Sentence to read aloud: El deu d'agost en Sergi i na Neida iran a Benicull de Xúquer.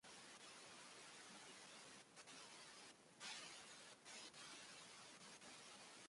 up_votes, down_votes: 0, 2